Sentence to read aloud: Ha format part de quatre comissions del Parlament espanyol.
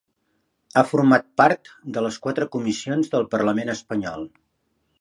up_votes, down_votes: 1, 2